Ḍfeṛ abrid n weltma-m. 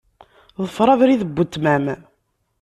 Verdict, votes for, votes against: accepted, 2, 0